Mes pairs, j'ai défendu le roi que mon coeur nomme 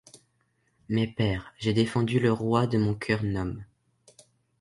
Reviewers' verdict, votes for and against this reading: rejected, 0, 2